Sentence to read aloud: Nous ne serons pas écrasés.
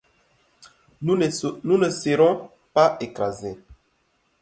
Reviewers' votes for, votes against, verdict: 2, 1, accepted